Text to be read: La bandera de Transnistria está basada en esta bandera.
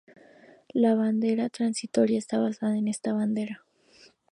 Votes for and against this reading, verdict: 2, 4, rejected